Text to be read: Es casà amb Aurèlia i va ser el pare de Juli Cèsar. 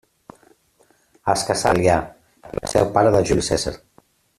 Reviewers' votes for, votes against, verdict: 0, 2, rejected